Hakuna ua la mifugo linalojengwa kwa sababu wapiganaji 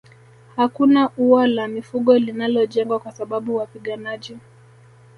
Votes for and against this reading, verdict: 2, 0, accepted